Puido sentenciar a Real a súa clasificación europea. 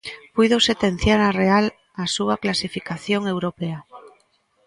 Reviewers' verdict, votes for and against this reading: rejected, 1, 2